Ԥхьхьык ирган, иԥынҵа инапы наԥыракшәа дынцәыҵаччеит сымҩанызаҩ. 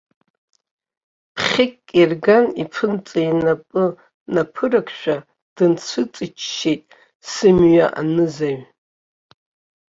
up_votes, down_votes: 1, 2